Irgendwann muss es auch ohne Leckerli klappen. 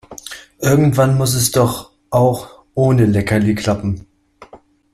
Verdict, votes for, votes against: rejected, 1, 2